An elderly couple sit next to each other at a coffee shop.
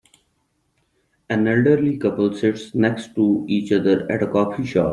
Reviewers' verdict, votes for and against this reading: accepted, 3, 2